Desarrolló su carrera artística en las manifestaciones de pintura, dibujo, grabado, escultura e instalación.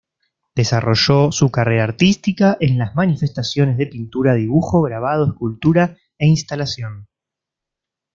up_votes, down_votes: 2, 0